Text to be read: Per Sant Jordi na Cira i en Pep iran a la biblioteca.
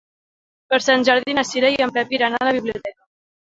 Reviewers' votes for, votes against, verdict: 0, 2, rejected